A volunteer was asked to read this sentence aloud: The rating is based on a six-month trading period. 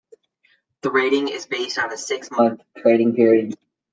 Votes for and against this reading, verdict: 2, 0, accepted